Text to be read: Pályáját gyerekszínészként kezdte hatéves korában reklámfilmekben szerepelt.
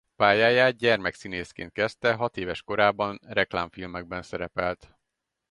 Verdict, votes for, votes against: rejected, 2, 2